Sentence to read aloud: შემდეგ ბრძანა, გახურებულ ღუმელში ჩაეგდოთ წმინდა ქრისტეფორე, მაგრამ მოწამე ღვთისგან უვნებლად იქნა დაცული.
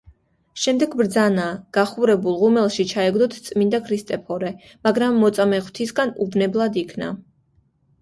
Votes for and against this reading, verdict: 1, 2, rejected